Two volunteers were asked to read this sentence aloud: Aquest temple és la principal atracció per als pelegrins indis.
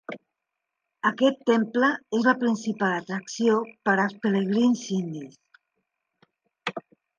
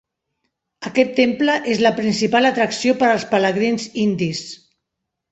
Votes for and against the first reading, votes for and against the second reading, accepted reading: 0, 2, 2, 0, second